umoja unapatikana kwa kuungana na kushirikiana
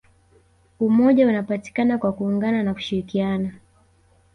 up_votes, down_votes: 1, 2